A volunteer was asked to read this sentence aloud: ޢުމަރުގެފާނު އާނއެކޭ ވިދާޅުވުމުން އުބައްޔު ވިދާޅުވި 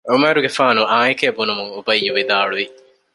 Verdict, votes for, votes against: rejected, 0, 2